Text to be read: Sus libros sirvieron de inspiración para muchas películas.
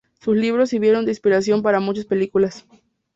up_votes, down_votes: 2, 0